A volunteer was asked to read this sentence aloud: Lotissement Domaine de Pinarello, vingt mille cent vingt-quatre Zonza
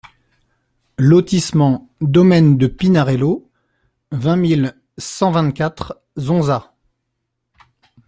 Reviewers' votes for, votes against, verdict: 2, 0, accepted